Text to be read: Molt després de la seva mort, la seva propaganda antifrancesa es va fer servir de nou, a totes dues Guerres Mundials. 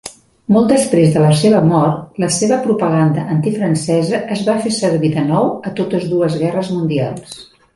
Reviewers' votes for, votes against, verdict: 2, 0, accepted